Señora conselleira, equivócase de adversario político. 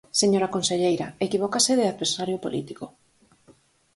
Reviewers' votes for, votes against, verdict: 6, 0, accepted